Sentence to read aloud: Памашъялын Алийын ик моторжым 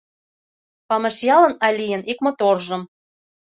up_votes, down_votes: 2, 0